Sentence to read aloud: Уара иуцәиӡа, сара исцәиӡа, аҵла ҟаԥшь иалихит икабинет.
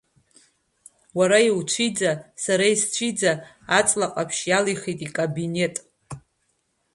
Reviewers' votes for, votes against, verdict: 2, 0, accepted